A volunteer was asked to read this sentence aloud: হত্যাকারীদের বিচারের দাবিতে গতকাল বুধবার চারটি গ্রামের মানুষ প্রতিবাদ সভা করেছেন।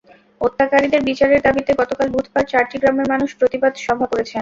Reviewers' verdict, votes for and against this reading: rejected, 0, 2